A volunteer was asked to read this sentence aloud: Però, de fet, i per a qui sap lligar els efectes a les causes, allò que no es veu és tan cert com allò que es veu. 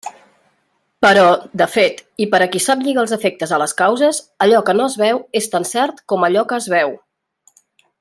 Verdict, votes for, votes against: accepted, 3, 1